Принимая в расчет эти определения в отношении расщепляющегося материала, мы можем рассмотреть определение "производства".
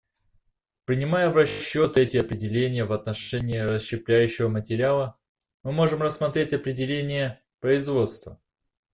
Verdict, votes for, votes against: rejected, 0, 2